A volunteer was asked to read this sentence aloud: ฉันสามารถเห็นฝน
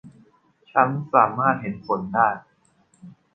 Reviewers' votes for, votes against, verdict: 0, 2, rejected